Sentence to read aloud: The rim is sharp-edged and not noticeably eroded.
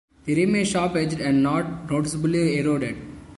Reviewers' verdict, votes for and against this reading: accepted, 2, 1